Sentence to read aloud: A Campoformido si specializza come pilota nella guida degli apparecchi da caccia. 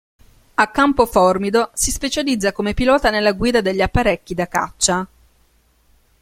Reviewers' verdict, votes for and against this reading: accepted, 2, 0